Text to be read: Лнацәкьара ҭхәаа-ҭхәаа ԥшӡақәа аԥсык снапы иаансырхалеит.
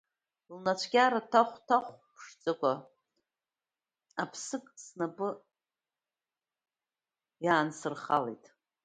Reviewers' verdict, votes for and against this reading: rejected, 0, 2